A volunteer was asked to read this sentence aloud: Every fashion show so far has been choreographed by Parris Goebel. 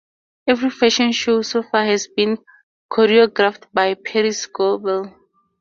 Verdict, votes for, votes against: accepted, 4, 0